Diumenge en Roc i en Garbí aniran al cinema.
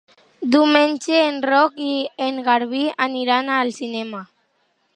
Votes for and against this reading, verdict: 3, 0, accepted